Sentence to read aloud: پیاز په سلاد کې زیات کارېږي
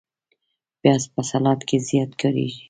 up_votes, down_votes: 1, 2